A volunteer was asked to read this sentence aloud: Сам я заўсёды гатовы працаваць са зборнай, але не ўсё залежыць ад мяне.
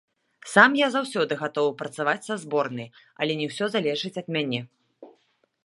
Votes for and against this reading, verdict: 2, 0, accepted